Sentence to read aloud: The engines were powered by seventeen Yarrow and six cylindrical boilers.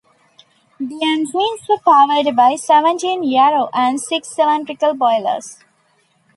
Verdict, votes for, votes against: accepted, 2, 0